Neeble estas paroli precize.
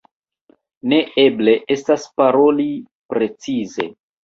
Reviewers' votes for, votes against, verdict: 2, 0, accepted